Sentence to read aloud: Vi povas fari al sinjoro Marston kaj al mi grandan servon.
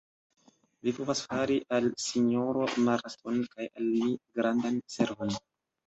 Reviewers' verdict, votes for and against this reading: accepted, 2, 1